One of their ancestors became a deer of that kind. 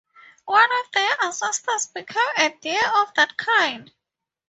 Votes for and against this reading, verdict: 0, 2, rejected